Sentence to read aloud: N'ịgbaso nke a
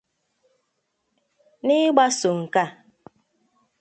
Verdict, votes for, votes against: accepted, 2, 0